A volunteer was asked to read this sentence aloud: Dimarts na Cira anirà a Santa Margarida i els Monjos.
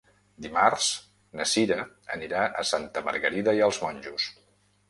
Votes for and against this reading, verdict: 2, 0, accepted